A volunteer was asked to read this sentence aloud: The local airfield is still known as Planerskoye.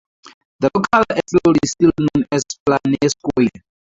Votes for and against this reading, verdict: 0, 2, rejected